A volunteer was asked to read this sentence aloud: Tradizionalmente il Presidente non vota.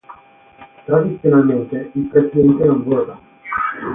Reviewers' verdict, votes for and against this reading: rejected, 3, 6